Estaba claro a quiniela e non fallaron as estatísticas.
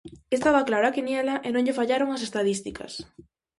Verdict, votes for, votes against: rejected, 2, 2